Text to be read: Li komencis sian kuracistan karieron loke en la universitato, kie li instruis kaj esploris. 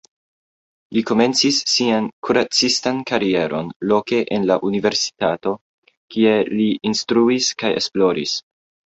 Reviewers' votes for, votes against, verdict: 2, 0, accepted